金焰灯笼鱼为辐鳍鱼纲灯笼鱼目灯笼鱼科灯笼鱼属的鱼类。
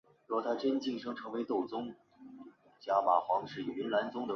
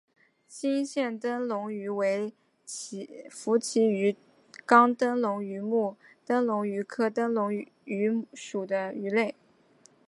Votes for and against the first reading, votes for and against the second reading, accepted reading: 1, 3, 2, 0, second